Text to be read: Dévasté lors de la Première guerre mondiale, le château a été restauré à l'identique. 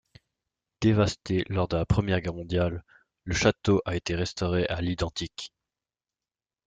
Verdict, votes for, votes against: accepted, 2, 0